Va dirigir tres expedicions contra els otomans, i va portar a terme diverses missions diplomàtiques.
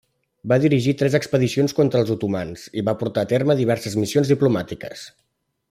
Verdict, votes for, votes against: accepted, 3, 0